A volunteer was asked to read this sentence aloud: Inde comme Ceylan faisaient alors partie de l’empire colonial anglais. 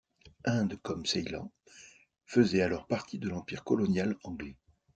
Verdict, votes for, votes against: accepted, 2, 0